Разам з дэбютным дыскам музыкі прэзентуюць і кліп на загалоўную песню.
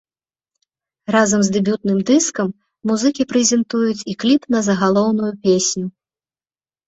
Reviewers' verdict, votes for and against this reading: accepted, 2, 0